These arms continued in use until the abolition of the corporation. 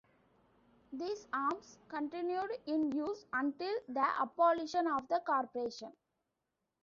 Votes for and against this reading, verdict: 2, 0, accepted